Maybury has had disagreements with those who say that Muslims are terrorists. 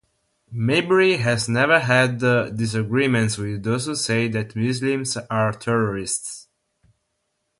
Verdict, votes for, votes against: rejected, 3, 3